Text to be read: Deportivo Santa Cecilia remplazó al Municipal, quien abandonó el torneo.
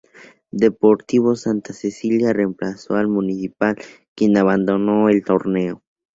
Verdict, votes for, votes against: accepted, 2, 0